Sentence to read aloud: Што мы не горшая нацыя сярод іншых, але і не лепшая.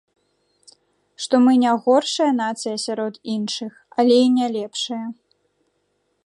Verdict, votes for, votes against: accepted, 2, 0